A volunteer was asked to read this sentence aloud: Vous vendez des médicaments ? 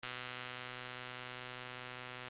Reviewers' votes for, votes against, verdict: 0, 2, rejected